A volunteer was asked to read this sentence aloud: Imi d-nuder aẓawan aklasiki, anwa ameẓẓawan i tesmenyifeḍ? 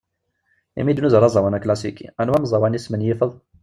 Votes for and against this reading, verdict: 1, 2, rejected